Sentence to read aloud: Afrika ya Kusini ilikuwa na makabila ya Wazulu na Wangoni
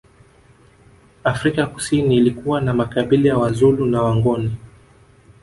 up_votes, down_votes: 2, 1